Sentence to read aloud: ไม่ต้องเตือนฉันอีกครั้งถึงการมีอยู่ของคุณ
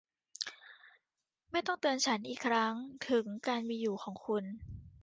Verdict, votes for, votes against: accepted, 2, 0